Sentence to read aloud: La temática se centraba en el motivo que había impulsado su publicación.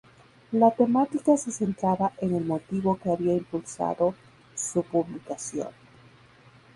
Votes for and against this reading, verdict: 0, 2, rejected